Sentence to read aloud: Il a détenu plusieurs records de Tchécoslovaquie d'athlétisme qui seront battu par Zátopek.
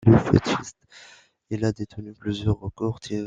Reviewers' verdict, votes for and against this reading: rejected, 0, 2